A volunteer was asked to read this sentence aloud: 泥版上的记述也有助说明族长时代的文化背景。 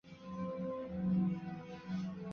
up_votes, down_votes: 0, 2